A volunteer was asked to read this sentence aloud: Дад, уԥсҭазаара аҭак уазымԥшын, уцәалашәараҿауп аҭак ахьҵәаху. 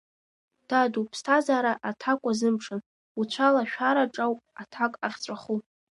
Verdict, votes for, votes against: rejected, 0, 2